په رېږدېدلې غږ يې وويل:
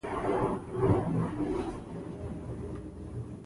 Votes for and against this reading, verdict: 0, 2, rejected